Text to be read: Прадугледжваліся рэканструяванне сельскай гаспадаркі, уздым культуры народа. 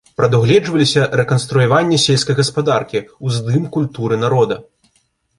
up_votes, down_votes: 2, 0